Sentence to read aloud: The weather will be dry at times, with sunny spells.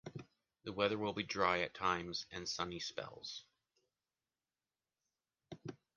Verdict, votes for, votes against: rejected, 1, 2